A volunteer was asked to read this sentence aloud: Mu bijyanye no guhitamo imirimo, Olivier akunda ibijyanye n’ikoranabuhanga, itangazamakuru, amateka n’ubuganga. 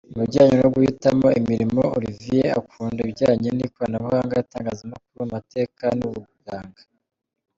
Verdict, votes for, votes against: rejected, 1, 2